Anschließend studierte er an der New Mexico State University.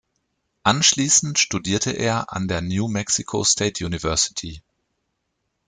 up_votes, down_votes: 2, 0